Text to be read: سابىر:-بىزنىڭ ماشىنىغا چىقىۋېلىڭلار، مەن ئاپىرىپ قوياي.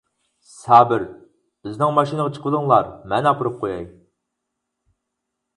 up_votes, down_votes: 4, 0